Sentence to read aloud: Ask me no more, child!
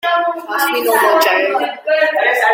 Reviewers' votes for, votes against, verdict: 1, 2, rejected